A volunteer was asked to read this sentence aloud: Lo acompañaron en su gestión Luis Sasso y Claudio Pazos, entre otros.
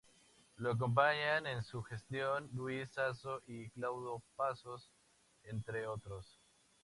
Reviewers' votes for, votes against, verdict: 0, 2, rejected